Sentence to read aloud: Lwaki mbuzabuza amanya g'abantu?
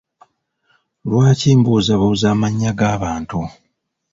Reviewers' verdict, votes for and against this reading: rejected, 0, 2